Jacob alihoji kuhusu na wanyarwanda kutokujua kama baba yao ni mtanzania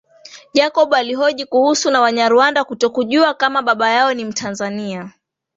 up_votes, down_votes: 2, 1